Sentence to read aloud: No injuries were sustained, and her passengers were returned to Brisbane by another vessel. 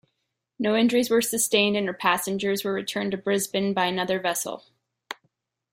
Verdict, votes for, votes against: accepted, 2, 0